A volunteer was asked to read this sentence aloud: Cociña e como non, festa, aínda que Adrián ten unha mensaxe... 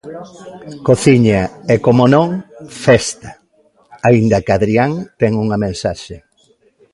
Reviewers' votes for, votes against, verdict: 2, 0, accepted